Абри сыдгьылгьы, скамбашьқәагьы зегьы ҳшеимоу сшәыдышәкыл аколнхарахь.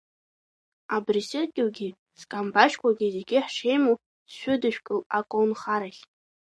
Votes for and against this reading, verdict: 0, 2, rejected